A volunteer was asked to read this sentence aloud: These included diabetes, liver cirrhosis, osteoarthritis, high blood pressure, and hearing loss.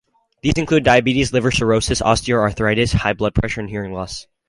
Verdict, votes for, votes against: accepted, 2, 0